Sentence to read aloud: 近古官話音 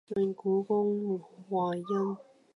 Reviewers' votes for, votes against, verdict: 0, 2, rejected